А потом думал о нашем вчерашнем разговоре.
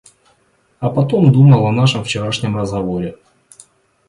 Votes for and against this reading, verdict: 2, 1, accepted